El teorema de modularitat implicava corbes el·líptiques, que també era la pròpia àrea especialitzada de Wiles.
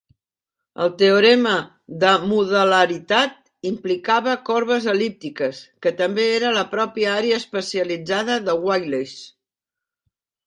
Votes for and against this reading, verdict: 2, 1, accepted